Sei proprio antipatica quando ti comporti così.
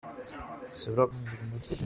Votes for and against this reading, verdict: 0, 2, rejected